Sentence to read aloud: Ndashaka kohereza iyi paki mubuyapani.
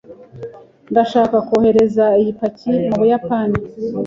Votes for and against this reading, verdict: 2, 0, accepted